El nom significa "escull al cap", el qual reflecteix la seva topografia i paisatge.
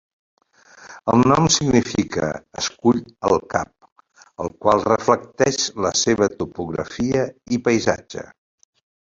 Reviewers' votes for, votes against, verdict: 4, 2, accepted